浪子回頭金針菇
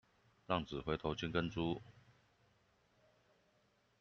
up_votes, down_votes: 0, 2